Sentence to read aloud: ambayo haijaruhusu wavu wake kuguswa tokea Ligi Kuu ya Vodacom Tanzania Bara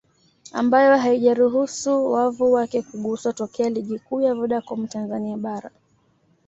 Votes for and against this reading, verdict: 2, 0, accepted